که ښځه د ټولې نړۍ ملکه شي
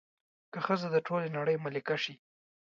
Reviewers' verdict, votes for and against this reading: accepted, 2, 0